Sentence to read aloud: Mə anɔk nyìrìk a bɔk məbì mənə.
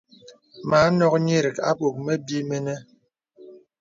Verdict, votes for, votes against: accepted, 2, 0